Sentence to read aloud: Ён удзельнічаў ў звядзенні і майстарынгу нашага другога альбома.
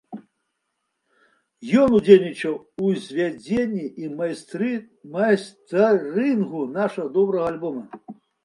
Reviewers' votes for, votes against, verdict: 0, 2, rejected